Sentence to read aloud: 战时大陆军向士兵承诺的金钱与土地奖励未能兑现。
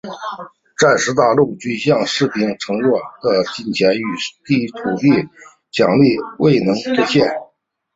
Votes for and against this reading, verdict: 0, 2, rejected